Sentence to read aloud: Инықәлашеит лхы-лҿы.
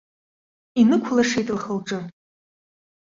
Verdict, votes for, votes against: accepted, 2, 0